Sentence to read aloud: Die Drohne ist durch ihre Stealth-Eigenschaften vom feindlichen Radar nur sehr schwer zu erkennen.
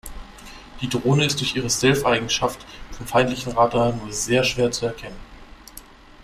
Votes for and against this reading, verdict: 0, 2, rejected